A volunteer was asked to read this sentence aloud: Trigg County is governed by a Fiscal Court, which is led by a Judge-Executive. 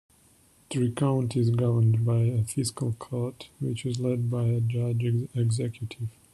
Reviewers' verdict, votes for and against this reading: accepted, 2, 0